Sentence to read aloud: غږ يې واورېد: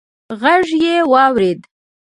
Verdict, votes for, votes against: rejected, 0, 2